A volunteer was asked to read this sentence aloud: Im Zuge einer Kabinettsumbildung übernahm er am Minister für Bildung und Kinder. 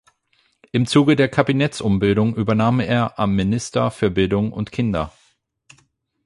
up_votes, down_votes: 0, 8